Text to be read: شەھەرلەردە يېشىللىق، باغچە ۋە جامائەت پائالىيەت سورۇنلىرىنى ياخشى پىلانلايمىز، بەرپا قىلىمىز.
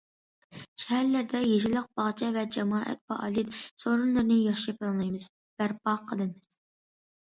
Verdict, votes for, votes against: accepted, 2, 0